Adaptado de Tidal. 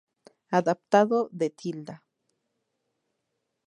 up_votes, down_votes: 0, 2